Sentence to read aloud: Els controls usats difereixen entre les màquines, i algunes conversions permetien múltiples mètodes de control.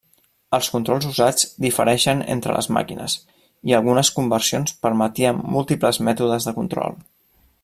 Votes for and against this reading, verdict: 3, 0, accepted